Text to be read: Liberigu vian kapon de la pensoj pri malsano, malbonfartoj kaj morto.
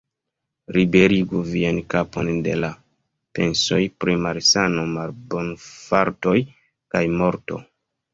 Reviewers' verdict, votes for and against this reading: rejected, 1, 2